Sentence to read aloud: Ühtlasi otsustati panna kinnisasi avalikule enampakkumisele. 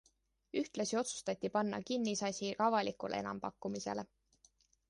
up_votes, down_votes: 2, 0